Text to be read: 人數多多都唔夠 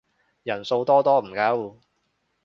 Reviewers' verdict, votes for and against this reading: rejected, 0, 2